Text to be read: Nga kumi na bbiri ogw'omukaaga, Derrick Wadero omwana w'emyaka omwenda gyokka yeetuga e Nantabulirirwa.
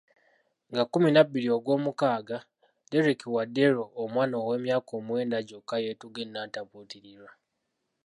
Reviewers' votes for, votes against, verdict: 2, 0, accepted